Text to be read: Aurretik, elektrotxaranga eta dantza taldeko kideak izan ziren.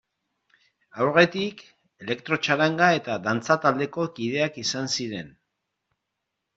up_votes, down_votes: 2, 0